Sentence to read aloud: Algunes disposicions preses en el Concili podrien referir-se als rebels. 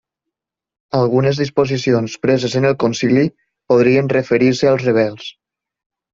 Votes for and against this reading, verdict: 3, 0, accepted